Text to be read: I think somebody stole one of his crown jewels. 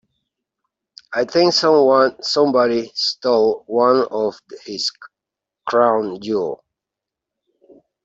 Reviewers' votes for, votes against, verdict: 1, 3, rejected